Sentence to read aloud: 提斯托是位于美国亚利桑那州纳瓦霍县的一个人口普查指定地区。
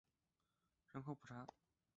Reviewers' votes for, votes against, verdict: 2, 6, rejected